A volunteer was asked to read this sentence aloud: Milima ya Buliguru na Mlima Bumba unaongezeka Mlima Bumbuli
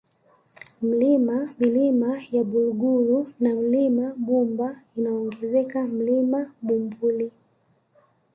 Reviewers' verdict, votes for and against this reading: rejected, 0, 2